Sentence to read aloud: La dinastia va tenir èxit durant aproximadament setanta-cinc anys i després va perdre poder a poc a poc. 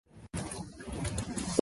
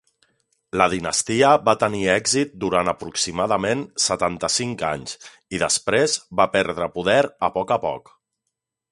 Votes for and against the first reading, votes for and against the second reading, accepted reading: 0, 2, 4, 1, second